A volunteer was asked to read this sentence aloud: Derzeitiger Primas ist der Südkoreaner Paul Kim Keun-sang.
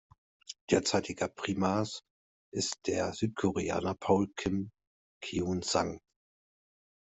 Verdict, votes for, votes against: accepted, 2, 0